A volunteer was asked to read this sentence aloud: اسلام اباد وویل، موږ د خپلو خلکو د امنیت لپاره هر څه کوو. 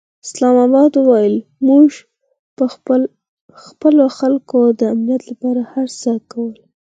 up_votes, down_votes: 2, 4